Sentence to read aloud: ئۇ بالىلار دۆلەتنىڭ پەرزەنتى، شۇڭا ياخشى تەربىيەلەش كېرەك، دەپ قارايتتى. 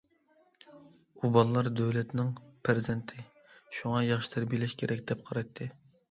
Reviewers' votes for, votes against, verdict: 2, 0, accepted